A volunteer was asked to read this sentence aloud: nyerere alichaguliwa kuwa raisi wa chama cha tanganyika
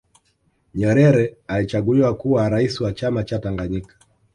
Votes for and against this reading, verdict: 1, 2, rejected